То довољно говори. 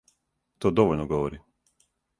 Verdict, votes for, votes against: accepted, 4, 0